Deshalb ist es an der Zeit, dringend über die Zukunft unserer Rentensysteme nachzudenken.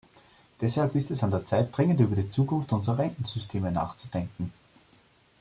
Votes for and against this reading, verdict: 0, 2, rejected